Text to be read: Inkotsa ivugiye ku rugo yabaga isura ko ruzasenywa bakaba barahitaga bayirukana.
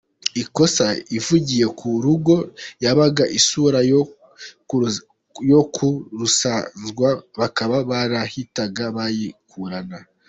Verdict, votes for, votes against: rejected, 0, 2